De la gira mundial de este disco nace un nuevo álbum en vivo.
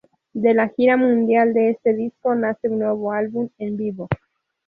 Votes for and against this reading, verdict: 2, 0, accepted